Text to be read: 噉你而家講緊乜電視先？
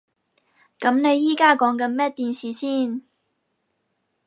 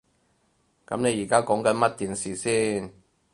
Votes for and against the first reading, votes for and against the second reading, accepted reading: 2, 4, 4, 0, second